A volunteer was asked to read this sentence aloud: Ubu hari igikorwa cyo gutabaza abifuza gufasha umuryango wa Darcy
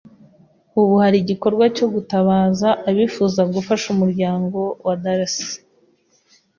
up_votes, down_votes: 2, 0